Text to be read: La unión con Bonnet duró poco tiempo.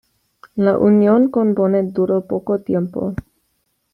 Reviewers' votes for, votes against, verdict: 3, 0, accepted